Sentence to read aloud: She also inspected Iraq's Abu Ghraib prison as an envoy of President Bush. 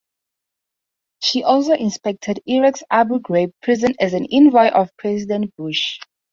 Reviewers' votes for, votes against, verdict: 2, 0, accepted